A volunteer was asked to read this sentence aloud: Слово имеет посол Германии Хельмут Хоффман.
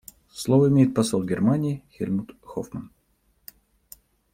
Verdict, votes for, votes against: accepted, 2, 1